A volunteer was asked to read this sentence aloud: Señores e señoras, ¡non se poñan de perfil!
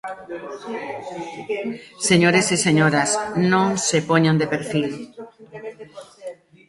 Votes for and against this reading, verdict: 1, 2, rejected